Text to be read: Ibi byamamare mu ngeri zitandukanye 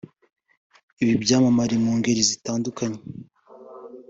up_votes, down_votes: 2, 1